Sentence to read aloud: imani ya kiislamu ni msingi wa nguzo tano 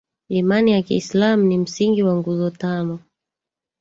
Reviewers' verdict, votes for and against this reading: rejected, 1, 2